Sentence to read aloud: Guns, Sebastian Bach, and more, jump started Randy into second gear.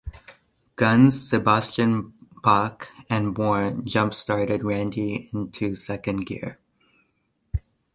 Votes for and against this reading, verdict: 2, 0, accepted